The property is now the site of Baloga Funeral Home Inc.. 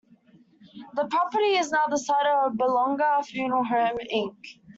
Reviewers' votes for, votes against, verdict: 1, 2, rejected